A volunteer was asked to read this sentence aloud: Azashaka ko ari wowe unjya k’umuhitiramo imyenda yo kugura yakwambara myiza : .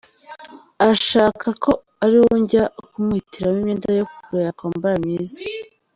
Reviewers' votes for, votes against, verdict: 0, 2, rejected